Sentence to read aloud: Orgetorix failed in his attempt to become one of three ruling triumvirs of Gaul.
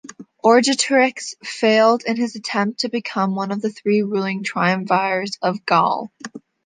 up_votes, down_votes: 2, 0